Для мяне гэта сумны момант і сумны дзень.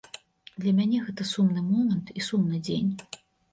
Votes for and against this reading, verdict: 2, 0, accepted